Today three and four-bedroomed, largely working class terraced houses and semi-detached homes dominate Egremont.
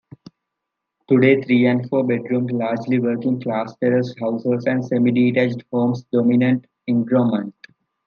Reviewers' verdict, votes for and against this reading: accepted, 2, 0